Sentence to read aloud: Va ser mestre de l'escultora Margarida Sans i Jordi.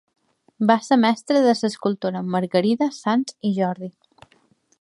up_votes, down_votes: 0, 2